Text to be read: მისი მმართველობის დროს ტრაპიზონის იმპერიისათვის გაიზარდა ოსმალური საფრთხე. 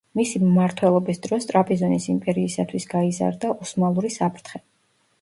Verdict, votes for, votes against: accepted, 2, 0